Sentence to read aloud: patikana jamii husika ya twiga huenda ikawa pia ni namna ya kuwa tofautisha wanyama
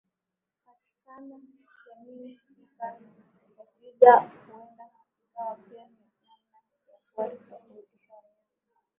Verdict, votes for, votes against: rejected, 3, 15